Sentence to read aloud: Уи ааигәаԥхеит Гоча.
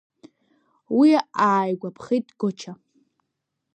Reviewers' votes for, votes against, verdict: 2, 0, accepted